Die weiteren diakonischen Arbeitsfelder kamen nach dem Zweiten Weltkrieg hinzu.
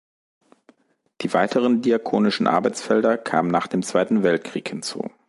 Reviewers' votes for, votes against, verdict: 3, 0, accepted